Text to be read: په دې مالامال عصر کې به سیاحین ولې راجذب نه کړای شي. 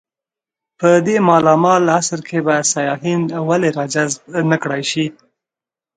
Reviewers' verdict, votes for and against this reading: accepted, 2, 0